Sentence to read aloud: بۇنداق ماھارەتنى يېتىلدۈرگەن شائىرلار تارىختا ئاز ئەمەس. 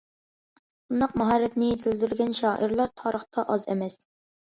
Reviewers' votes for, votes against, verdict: 2, 0, accepted